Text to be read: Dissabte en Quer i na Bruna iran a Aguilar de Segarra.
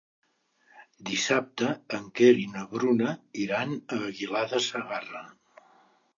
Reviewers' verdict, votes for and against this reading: accepted, 2, 0